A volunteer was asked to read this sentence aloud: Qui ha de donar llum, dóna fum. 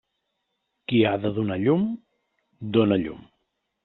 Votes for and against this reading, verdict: 0, 2, rejected